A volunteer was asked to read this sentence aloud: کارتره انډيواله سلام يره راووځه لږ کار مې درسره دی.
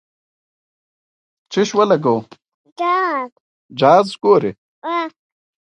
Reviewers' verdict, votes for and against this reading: rejected, 1, 2